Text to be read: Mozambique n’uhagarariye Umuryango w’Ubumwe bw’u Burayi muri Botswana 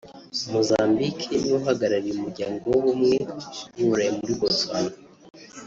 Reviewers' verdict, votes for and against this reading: accepted, 4, 1